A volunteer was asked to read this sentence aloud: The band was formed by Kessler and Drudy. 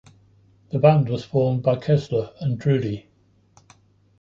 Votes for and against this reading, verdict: 3, 0, accepted